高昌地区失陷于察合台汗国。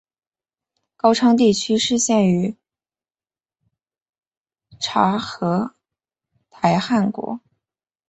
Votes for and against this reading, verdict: 2, 1, accepted